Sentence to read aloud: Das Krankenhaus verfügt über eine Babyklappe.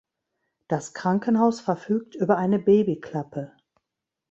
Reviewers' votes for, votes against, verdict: 1, 2, rejected